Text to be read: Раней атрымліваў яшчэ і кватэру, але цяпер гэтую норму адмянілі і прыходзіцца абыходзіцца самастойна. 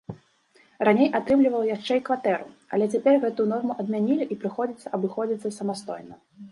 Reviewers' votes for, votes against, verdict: 2, 0, accepted